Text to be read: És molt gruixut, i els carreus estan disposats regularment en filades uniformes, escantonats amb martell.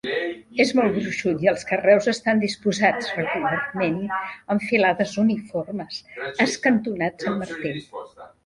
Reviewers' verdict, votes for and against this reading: rejected, 0, 2